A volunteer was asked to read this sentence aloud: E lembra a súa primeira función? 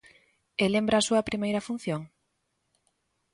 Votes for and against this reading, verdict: 2, 0, accepted